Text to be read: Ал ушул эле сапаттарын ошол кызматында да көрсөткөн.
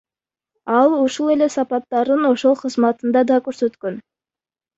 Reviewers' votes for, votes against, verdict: 2, 1, accepted